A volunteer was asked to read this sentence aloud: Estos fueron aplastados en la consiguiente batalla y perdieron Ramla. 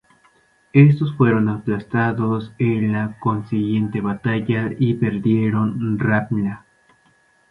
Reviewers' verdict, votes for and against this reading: rejected, 2, 2